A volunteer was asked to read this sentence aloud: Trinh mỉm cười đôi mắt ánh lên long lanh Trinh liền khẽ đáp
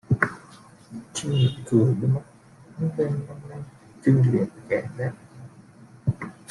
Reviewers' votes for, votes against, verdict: 0, 2, rejected